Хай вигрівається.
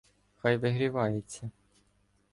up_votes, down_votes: 2, 0